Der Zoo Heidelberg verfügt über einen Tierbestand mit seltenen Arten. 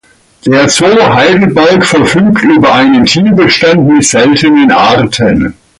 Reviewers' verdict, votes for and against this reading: accepted, 2, 0